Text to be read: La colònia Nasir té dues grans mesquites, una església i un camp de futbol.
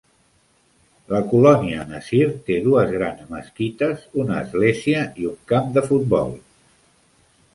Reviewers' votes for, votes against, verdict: 2, 0, accepted